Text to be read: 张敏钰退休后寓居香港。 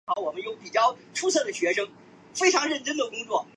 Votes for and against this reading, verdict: 1, 2, rejected